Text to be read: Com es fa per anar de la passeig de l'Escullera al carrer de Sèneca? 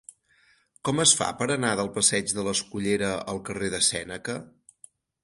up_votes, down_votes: 0, 4